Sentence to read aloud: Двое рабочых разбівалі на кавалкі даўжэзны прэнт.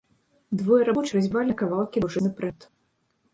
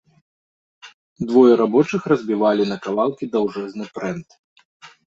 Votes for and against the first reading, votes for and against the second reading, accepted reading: 1, 2, 2, 0, second